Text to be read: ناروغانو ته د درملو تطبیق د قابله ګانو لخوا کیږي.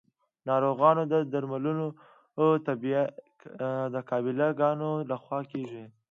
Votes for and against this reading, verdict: 0, 2, rejected